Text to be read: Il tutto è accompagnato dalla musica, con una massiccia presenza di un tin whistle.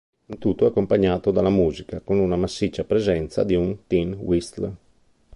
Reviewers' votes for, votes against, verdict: 0, 3, rejected